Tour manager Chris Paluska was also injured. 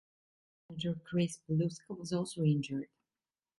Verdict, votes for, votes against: rejected, 0, 2